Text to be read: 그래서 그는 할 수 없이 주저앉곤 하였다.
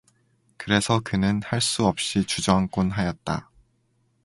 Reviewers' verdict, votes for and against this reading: accepted, 2, 0